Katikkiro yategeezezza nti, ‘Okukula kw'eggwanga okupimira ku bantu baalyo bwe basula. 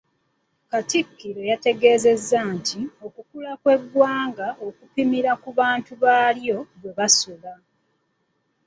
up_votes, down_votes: 2, 1